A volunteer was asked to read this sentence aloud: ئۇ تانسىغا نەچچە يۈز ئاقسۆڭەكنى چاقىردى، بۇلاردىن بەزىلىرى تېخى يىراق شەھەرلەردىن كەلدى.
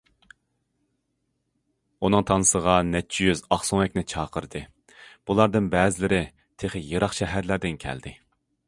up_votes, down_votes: 0, 2